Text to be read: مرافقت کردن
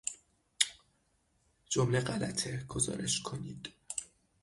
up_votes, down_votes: 0, 6